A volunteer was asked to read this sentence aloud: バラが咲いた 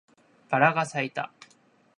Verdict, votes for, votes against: accepted, 2, 0